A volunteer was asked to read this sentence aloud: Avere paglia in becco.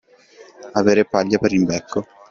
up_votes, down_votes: 0, 2